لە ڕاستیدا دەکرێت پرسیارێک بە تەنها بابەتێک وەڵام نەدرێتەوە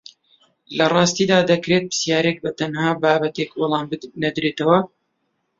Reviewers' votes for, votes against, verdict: 0, 2, rejected